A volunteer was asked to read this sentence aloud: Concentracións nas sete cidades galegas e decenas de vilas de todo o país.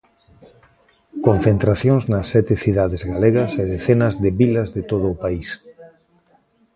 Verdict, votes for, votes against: rejected, 1, 2